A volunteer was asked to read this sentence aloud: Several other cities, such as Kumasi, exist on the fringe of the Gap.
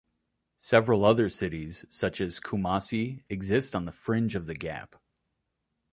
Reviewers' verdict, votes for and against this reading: accepted, 2, 0